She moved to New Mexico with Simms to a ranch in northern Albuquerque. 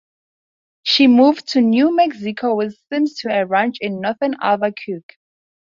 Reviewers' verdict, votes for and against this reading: rejected, 0, 4